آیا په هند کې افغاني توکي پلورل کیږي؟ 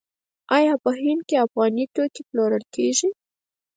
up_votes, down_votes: 0, 4